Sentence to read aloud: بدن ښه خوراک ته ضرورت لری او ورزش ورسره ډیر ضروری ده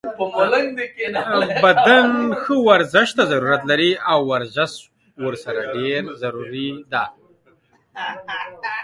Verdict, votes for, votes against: rejected, 1, 2